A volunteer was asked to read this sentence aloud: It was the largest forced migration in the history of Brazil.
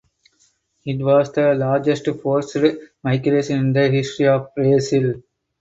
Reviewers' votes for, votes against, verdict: 4, 0, accepted